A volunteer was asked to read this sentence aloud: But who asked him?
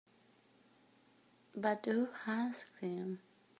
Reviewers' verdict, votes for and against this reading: accepted, 2, 0